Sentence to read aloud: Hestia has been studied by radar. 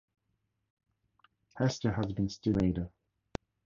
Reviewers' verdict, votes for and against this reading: rejected, 0, 2